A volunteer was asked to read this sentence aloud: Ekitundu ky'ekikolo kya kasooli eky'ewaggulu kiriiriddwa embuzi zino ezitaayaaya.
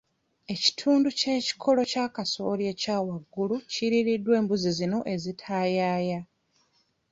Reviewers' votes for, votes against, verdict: 2, 0, accepted